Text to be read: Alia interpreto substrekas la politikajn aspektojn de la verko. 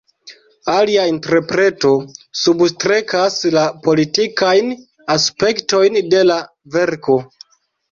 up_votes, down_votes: 2, 0